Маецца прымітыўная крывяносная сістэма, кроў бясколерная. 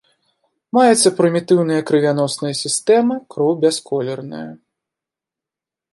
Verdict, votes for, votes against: accepted, 2, 0